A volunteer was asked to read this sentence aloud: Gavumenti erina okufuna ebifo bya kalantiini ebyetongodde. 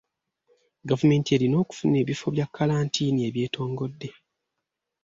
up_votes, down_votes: 2, 0